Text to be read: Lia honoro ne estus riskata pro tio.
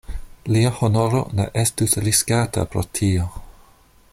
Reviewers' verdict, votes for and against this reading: accepted, 2, 0